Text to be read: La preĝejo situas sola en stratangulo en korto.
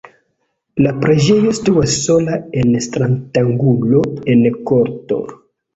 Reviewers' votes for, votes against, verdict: 1, 2, rejected